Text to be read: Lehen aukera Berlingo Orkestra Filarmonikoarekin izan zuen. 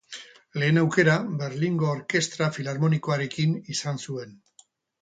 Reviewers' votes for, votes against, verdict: 2, 2, rejected